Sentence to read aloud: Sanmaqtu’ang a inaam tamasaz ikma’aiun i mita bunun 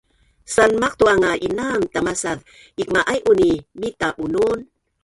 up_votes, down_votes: 1, 2